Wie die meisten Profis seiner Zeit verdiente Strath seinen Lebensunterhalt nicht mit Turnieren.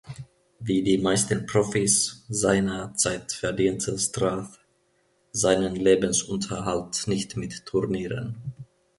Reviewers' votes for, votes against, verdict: 1, 2, rejected